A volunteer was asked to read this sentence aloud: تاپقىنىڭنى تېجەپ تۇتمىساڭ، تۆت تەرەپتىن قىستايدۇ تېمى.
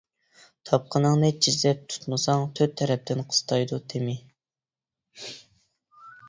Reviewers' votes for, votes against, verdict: 1, 2, rejected